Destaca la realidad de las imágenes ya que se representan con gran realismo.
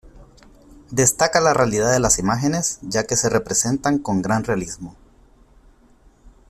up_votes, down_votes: 2, 0